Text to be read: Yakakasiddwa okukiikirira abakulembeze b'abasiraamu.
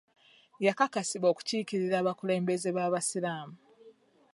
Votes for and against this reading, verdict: 1, 2, rejected